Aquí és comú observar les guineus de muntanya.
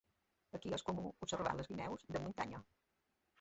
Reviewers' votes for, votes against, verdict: 0, 2, rejected